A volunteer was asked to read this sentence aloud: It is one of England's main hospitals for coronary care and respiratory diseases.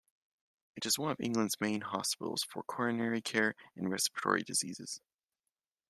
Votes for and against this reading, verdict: 2, 0, accepted